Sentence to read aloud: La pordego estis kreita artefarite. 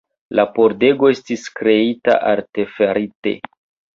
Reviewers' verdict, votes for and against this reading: rejected, 1, 3